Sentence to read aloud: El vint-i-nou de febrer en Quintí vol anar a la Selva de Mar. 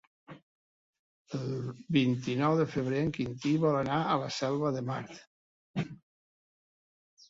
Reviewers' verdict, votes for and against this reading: rejected, 0, 3